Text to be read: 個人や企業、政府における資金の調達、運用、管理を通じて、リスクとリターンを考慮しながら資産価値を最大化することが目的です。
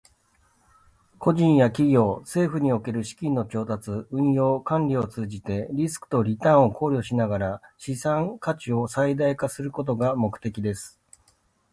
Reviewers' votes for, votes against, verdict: 2, 0, accepted